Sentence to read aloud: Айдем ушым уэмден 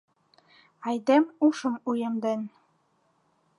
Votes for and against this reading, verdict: 2, 0, accepted